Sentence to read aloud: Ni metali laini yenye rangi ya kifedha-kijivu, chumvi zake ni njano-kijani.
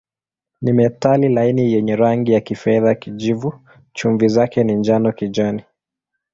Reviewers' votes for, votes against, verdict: 2, 0, accepted